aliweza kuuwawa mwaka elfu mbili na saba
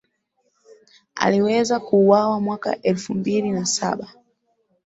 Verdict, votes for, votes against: accepted, 2, 0